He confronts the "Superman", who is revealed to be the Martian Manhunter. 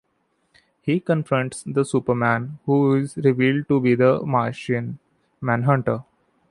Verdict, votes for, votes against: accepted, 2, 0